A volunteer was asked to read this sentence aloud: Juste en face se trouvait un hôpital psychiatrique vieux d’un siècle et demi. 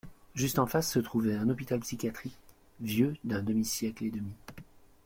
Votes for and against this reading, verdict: 0, 2, rejected